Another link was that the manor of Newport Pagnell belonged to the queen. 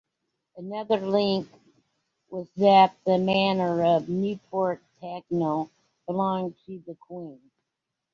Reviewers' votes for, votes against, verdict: 0, 2, rejected